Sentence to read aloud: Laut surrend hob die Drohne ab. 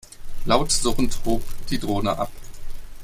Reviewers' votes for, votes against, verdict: 2, 0, accepted